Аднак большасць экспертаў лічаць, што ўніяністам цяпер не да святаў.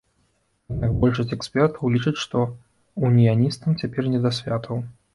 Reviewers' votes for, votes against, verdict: 1, 2, rejected